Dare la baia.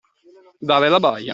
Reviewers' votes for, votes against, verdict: 2, 0, accepted